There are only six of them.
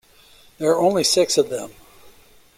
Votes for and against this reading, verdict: 2, 0, accepted